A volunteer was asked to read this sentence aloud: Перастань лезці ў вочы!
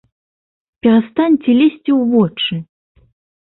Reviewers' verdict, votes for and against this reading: rejected, 1, 2